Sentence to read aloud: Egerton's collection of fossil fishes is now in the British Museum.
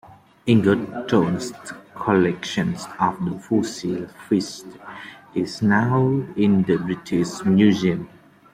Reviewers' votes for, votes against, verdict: 2, 0, accepted